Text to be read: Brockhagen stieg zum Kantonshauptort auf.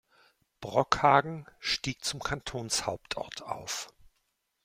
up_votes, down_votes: 2, 0